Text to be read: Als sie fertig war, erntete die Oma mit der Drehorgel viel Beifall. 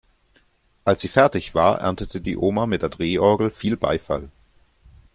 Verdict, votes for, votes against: accepted, 2, 0